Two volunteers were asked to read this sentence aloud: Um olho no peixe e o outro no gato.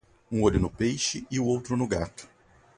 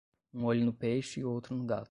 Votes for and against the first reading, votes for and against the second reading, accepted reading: 2, 0, 5, 5, first